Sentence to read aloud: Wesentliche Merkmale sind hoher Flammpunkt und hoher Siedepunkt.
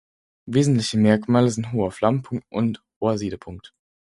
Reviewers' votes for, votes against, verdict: 4, 0, accepted